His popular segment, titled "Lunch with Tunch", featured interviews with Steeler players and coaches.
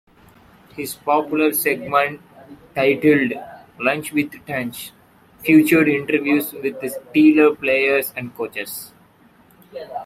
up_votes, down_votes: 0, 2